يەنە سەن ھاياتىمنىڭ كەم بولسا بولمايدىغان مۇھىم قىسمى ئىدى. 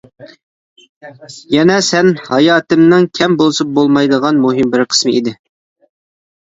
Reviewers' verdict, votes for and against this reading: rejected, 1, 2